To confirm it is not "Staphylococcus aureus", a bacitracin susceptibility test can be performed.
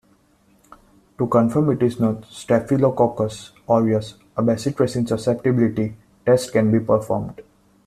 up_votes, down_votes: 2, 1